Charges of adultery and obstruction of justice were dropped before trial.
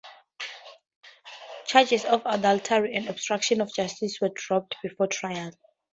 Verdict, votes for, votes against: accepted, 2, 0